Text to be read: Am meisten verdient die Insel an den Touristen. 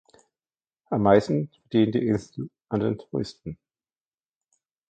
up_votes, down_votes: 0, 2